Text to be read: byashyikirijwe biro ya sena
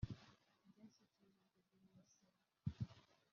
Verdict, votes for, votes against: rejected, 0, 3